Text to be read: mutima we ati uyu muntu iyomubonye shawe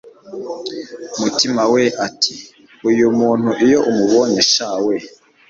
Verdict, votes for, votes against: rejected, 0, 2